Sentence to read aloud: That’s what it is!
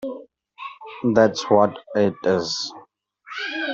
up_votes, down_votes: 1, 2